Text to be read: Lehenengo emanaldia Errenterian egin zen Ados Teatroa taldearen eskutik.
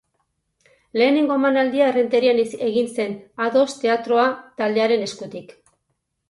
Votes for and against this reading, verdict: 2, 4, rejected